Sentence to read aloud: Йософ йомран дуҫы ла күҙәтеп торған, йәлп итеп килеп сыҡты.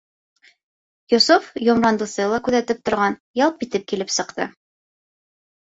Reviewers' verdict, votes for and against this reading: rejected, 1, 2